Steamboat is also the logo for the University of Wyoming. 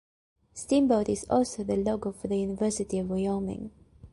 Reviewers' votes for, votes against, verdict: 1, 2, rejected